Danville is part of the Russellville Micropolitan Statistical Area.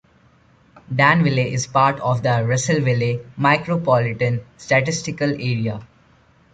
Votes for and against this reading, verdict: 2, 0, accepted